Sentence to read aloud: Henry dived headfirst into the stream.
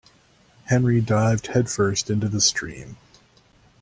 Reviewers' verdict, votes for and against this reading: accepted, 2, 0